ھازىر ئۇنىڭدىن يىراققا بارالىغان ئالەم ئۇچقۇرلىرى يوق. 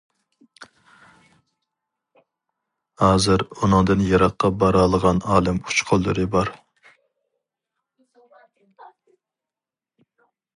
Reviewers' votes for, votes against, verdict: 0, 2, rejected